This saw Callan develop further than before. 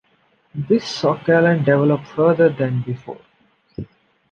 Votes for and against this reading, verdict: 2, 0, accepted